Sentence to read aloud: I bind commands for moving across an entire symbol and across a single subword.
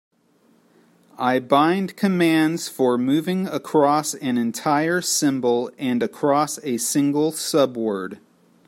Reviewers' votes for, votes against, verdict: 3, 0, accepted